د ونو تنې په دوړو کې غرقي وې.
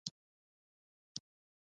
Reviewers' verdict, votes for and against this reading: rejected, 0, 2